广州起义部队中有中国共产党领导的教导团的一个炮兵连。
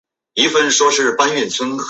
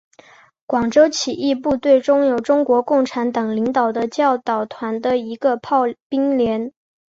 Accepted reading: second